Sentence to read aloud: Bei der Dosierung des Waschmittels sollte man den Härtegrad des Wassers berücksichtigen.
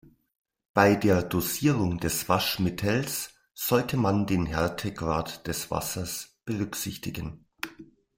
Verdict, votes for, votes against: accepted, 2, 0